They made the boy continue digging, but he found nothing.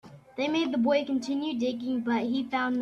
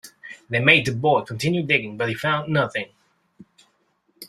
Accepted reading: second